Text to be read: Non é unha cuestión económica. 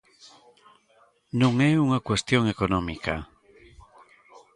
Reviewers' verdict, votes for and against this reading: rejected, 1, 2